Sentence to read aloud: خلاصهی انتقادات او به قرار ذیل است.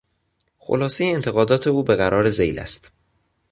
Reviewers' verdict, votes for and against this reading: accepted, 2, 0